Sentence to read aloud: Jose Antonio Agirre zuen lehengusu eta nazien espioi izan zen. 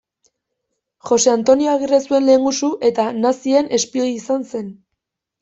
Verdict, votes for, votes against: accepted, 2, 0